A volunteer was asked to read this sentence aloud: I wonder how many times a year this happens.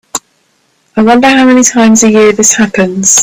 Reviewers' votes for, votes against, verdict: 3, 0, accepted